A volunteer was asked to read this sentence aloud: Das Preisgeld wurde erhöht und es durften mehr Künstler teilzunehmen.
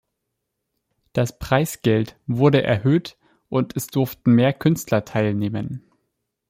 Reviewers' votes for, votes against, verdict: 1, 2, rejected